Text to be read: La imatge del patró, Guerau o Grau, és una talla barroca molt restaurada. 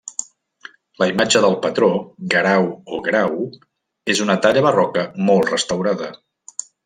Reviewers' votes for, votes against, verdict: 2, 0, accepted